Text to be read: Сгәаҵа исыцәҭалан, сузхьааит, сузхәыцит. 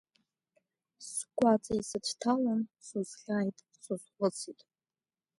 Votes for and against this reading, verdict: 0, 2, rejected